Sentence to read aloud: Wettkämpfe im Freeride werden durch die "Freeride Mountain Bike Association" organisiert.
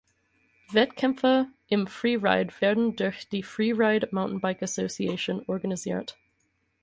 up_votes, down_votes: 4, 0